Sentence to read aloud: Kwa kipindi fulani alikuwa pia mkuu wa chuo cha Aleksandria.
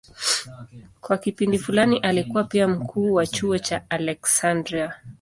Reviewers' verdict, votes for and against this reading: accepted, 2, 0